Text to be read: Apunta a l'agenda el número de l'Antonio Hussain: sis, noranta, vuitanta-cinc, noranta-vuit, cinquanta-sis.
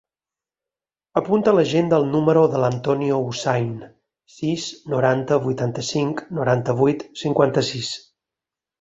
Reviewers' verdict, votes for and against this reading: accepted, 6, 0